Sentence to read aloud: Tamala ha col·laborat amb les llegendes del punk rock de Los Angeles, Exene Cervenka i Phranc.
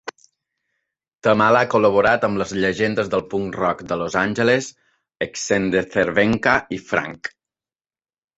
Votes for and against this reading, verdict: 2, 0, accepted